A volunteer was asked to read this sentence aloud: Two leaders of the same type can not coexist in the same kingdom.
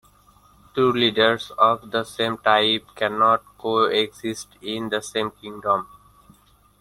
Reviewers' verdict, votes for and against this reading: accepted, 2, 1